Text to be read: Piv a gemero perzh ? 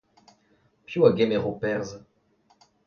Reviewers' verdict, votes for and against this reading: accepted, 2, 0